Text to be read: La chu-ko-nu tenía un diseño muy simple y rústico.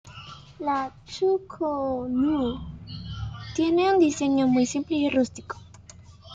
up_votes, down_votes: 0, 2